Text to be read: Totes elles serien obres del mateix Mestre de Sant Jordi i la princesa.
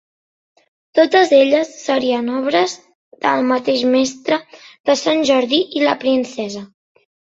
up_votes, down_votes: 2, 0